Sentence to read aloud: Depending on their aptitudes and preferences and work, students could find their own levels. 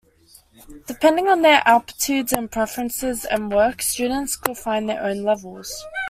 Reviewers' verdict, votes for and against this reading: accepted, 2, 0